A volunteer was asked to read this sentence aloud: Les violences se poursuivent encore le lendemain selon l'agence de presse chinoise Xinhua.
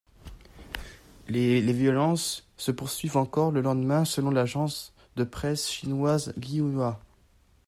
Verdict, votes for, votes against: rejected, 1, 2